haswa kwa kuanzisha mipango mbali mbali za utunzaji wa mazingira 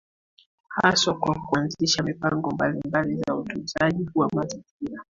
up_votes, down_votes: 1, 2